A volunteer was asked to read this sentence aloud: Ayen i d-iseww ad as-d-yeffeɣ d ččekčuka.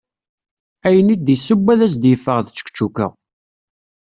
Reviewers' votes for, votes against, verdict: 2, 0, accepted